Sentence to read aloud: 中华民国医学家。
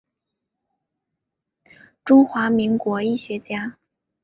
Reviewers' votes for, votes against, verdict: 4, 0, accepted